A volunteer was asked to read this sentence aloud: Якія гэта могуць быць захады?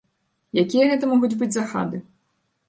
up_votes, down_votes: 1, 3